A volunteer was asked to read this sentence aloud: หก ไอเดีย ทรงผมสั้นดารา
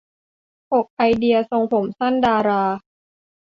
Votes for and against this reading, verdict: 2, 0, accepted